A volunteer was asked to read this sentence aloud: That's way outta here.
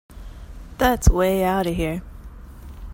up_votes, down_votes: 2, 0